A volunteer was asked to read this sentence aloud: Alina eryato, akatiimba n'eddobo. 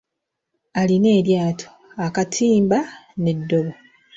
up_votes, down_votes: 2, 1